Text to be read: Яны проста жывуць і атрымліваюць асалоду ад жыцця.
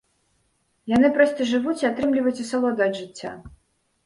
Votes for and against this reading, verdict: 2, 1, accepted